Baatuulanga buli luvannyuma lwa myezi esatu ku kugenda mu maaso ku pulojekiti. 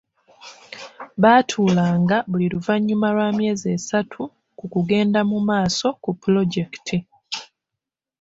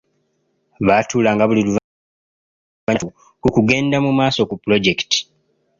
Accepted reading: first